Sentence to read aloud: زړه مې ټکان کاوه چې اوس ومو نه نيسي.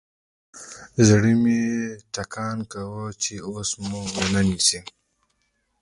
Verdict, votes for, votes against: rejected, 0, 2